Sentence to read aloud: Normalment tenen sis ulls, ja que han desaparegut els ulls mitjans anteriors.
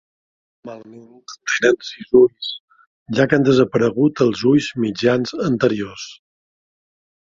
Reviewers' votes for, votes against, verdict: 0, 2, rejected